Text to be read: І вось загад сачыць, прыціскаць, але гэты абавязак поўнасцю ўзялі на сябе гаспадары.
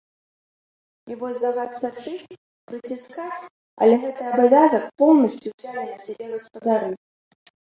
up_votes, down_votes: 1, 2